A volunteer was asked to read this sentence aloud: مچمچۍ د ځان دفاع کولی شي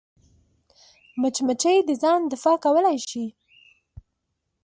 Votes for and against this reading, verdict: 2, 0, accepted